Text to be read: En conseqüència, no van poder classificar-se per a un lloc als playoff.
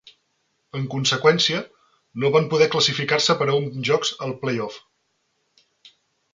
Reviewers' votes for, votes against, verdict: 1, 2, rejected